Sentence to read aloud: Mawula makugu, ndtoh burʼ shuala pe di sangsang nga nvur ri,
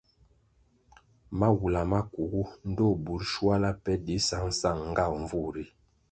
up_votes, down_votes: 2, 0